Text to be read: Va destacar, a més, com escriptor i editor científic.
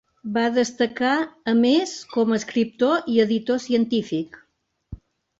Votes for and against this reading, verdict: 2, 0, accepted